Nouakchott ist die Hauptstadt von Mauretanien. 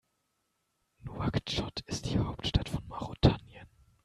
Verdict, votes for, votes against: rejected, 0, 2